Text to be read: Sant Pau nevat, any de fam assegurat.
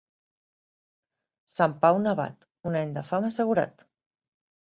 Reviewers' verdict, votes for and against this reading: rejected, 2, 3